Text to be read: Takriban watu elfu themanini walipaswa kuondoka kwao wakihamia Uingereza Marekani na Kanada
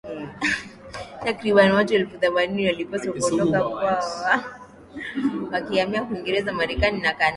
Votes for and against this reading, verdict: 2, 0, accepted